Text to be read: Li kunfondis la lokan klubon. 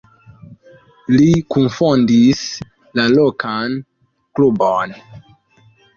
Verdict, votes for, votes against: accepted, 2, 1